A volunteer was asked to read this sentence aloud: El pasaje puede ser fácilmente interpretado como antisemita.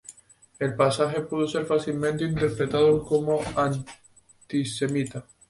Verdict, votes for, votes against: rejected, 0, 4